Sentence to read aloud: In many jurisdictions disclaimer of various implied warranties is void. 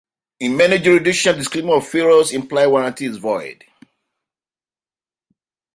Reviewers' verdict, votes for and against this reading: rejected, 0, 2